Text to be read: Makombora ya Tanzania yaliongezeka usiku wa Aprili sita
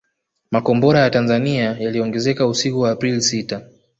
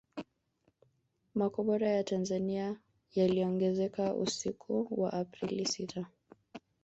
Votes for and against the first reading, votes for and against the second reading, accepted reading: 0, 2, 2, 1, second